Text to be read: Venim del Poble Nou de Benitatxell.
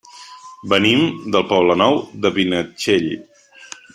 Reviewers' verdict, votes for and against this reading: rejected, 0, 2